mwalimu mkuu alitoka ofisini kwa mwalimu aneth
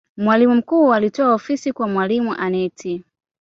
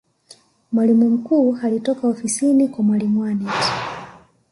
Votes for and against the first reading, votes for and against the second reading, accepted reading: 0, 2, 2, 0, second